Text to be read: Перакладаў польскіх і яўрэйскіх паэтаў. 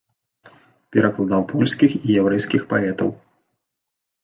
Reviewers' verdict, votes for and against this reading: accepted, 2, 0